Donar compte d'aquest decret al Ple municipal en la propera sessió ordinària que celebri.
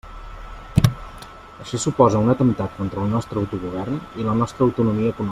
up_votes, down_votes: 0, 2